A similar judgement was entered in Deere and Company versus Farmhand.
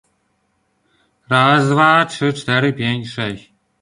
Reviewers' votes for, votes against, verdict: 0, 2, rejected